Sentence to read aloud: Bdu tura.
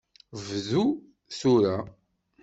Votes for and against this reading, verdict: 2, 0, accepted